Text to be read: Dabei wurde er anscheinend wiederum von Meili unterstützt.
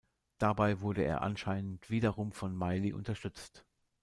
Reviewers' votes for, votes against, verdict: 2, 0, accepted